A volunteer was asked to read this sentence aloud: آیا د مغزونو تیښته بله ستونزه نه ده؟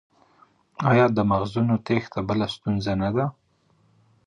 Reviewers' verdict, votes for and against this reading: rejected, 0, 2